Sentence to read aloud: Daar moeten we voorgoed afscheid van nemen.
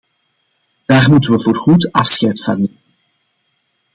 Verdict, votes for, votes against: rejected, 0, 2